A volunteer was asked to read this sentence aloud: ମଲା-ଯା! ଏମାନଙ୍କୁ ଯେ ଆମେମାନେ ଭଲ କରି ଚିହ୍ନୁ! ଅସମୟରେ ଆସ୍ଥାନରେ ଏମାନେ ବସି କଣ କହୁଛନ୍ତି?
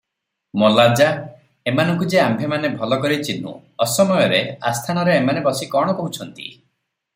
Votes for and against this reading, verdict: 0, 3, rejected